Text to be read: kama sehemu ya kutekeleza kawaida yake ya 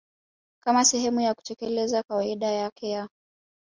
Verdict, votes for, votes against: rejected, 1, 2